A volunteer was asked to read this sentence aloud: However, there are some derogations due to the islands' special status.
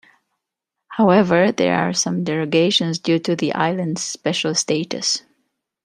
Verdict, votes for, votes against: accepted, 2, 0